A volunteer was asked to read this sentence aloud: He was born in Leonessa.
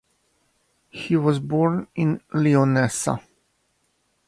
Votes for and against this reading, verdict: 2, 0, accepted